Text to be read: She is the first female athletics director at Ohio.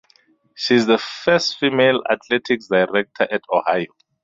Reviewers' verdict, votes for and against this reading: rejected, 2, 2